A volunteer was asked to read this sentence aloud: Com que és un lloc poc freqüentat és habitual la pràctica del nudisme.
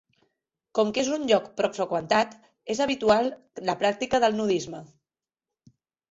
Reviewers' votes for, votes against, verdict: 2, 0, accepted